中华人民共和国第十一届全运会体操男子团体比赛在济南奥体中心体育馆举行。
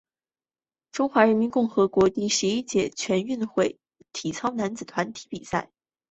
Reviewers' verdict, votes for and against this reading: rejected, 0, 3